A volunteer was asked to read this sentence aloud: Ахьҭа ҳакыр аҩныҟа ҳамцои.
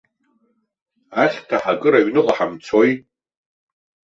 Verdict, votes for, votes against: accepted, 2, 0